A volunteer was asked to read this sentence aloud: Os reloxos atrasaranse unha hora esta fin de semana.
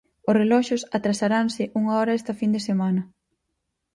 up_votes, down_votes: 4, 0